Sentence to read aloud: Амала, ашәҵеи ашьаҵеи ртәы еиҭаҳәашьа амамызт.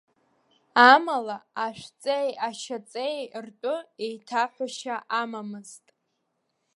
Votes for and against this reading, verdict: 1, 2, rejected